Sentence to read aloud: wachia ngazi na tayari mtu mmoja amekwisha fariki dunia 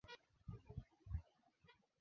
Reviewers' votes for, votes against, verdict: 0, 2, rejected